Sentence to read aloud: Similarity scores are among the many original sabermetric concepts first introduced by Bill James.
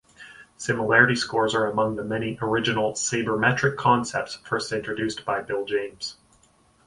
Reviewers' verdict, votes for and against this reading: accepted, 4, 0